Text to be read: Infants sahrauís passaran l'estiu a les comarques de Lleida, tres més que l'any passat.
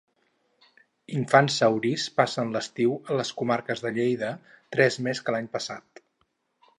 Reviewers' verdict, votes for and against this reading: rejected, 2, 4